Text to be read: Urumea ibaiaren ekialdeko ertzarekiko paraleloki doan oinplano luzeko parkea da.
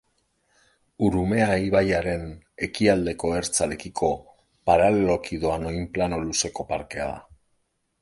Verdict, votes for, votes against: accepted, 2, 0